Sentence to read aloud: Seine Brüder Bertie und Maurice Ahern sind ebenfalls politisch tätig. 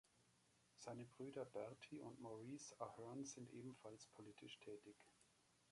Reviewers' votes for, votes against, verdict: 1, 2, rejected